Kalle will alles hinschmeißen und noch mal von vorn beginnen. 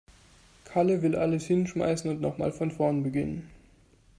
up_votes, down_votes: 2, 0